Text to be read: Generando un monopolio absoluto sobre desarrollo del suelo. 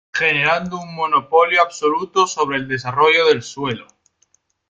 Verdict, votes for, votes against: accepted, 2, 1